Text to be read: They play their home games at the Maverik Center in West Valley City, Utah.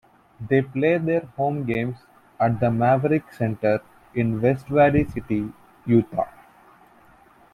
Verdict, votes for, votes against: accepted, 2, 1